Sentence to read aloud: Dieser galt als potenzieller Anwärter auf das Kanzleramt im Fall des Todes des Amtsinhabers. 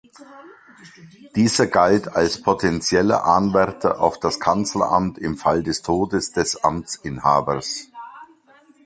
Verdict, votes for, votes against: accepted, 2, 0